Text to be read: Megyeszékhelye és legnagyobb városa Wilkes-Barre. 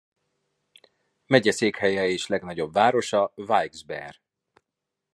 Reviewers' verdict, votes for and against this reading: accepted, 2, 0